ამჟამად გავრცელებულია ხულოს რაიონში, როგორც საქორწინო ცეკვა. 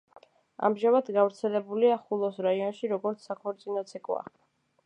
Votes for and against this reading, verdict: 2, 0, accepted